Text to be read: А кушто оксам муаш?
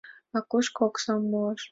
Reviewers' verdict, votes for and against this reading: accepted, 2, 1